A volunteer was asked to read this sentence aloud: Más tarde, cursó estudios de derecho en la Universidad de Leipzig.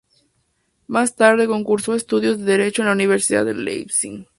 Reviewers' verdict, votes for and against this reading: accepted, 4, 2